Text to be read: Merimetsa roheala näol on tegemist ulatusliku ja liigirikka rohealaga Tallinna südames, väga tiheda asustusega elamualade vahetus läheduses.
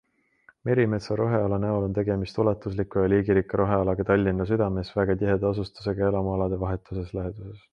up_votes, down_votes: 2, 1